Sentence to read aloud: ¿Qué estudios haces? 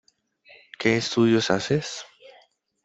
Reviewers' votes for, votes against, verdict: 2, 0, accepted